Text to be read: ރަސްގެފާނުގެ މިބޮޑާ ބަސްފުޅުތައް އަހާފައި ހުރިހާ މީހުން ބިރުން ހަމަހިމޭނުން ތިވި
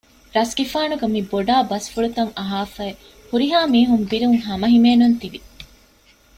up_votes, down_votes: 1, 2